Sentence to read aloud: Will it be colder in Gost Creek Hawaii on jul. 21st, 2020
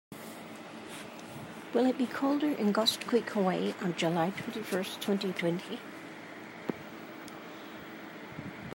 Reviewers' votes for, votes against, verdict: 0, 2, rejected